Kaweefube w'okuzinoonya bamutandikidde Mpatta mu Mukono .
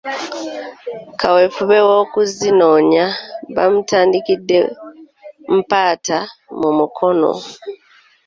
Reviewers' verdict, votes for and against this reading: rejected, 1, 2